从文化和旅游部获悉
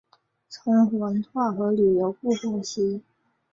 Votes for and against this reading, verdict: 0, 2, rejected